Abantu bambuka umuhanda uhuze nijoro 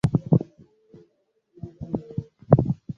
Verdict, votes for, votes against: rejected, 0, 2